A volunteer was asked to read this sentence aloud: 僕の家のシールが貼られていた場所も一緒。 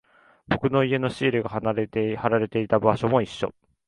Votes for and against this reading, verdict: 0, 2, rejected